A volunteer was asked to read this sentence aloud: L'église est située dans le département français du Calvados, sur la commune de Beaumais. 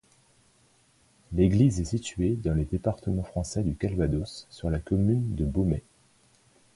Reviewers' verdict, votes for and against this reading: accepted, 2, 0